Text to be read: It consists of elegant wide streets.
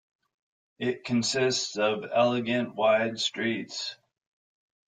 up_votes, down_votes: 2, 0